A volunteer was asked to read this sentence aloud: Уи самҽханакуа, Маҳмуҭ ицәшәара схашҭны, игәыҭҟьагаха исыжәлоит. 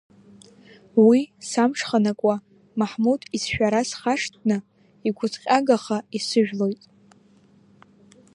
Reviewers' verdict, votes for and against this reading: accepted, 2, 0